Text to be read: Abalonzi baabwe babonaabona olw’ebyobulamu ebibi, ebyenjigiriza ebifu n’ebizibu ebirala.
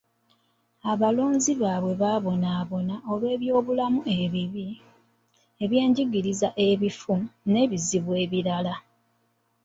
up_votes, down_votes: 1, 2